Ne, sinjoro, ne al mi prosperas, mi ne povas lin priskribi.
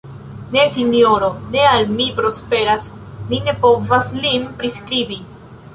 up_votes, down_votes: 2, 1